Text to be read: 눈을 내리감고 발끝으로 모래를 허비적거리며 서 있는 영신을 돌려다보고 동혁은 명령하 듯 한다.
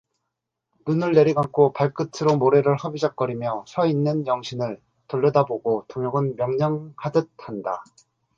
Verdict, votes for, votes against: accepted, 2, 0